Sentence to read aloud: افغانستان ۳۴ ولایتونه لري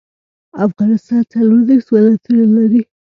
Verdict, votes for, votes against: rejected, 0, 2